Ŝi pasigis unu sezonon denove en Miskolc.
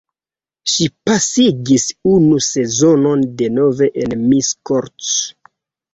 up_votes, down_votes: 0, 2